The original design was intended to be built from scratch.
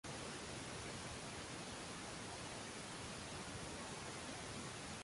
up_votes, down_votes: 0, 2